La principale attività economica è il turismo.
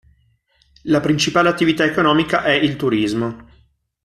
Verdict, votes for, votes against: accepted, 2, 0